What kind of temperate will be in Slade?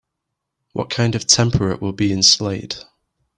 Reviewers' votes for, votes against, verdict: 2, 0, accepted